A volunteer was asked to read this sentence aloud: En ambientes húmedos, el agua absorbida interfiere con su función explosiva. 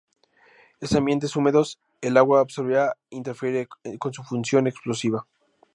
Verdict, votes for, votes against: rejected, 0, 4